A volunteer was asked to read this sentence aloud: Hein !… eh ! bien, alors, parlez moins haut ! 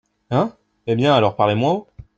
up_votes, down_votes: 2, 0